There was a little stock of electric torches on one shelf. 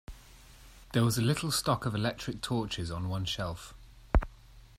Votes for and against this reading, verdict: 2, 0, accepted